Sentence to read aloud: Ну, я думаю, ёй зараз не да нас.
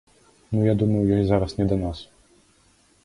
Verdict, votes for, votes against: accepted, 2, 0